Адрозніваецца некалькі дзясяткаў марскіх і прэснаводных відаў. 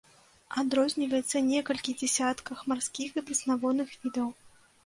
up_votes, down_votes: 0, 2